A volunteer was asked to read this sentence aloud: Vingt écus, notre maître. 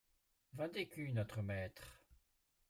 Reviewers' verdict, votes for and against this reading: accepted, 2, 0